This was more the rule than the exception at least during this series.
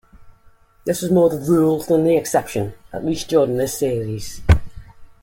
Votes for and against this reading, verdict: 1, 2, rejected